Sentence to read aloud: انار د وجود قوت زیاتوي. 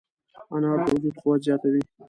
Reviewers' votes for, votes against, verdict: 1, 2, rejected